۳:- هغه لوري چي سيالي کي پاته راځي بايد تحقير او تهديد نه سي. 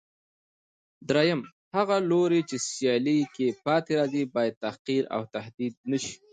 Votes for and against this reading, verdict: 0, 2, rejected